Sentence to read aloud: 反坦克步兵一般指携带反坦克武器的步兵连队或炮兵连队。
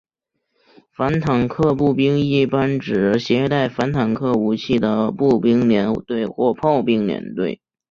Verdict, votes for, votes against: accepted, 3, 0